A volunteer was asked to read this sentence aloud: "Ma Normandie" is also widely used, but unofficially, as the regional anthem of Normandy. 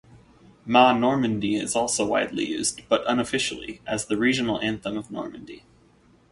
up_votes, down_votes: 2, 0